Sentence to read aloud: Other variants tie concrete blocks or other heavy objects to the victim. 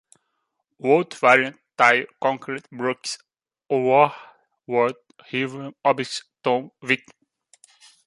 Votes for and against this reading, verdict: 0, 2, rejected